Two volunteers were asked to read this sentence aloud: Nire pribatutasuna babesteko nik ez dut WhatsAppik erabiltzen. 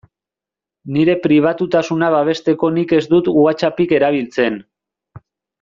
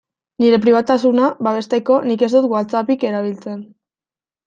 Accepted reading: first